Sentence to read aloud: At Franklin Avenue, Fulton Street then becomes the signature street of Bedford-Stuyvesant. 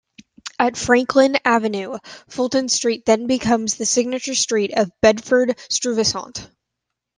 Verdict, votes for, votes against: accepted, 2, 0